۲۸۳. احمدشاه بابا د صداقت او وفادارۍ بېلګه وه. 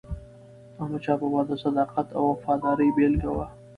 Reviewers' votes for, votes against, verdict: 0, 2, rejected